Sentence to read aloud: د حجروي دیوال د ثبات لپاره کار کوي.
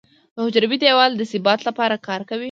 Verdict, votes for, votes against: accepted, 4, 0